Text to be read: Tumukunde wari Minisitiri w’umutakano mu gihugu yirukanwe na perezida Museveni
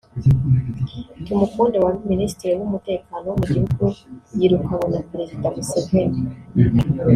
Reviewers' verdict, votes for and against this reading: rejected, 1, 2